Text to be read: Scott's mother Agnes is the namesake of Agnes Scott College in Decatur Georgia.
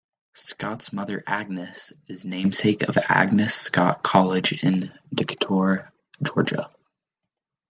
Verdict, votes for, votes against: rejected, 0, 2